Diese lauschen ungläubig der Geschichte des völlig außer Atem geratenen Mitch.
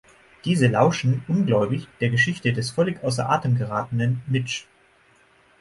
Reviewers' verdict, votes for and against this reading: accepted, 6, 0